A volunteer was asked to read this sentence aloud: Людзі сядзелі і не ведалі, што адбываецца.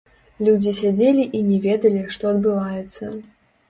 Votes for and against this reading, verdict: 1, 2, rejected